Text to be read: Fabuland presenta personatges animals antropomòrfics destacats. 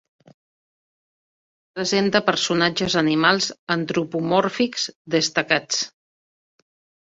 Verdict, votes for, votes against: rejected, 1, 4